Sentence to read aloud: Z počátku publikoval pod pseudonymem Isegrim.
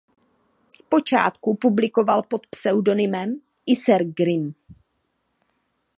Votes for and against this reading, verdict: 0, 2, rejected